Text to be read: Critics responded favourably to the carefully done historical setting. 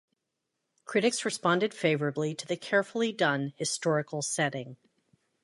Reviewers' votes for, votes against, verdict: 2, 0, accepted